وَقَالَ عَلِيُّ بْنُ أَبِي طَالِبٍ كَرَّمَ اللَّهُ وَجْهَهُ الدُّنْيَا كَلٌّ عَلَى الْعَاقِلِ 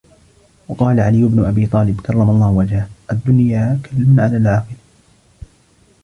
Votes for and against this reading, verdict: 2, 0, accepted